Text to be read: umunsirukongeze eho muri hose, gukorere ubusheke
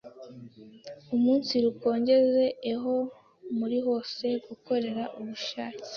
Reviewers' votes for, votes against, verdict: 0, 2, rejected